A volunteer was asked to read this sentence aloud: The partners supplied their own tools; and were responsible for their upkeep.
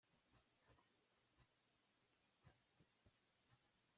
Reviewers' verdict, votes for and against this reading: rejected, 0, 2